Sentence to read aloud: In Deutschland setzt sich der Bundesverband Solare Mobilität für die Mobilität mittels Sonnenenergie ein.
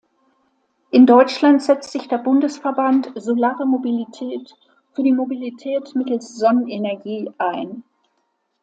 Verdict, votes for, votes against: accepted, 2, 0